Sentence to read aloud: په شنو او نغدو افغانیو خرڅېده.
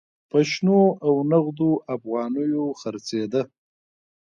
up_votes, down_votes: 2, 1